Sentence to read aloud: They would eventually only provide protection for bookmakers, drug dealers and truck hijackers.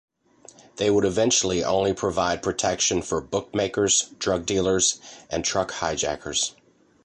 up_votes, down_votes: 2, 0